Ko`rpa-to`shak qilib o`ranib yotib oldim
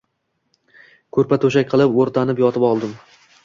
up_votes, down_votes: 1, 2